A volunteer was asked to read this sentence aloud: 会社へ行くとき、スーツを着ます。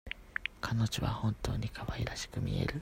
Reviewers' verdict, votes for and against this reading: rejected, 0, 2